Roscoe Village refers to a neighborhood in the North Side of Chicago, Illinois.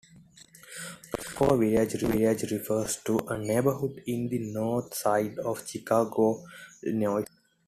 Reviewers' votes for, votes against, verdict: 1, 2, rejected